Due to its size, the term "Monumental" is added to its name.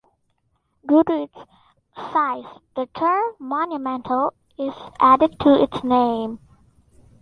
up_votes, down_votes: 2, 0